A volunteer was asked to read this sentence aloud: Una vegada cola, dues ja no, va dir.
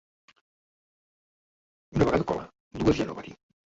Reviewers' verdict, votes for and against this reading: rejected, 1, 2